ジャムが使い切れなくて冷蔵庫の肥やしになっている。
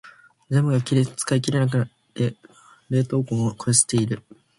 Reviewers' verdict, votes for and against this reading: rejected, 0, 2